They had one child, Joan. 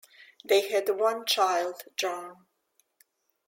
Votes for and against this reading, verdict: 1, 2, rejected